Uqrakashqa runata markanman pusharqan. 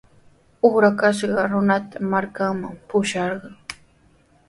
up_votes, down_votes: 4, 0